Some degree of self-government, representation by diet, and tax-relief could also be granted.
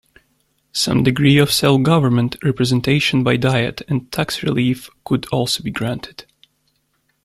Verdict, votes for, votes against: rejected, 1, 2